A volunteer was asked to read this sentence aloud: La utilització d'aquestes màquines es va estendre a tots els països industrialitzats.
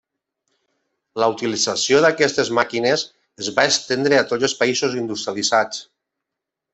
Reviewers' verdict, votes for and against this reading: accepted, 3, 0